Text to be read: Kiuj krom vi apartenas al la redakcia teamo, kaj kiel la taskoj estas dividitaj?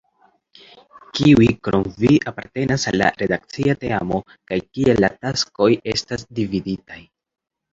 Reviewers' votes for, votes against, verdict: 2, 0, accepted